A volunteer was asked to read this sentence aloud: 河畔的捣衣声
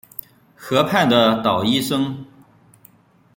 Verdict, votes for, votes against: accepted, 2, 0